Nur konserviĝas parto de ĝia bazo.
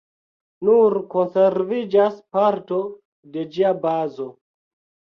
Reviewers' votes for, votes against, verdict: 4, 1, accepted